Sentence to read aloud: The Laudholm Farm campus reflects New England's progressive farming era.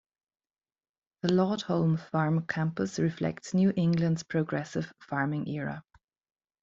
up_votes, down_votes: 2, 1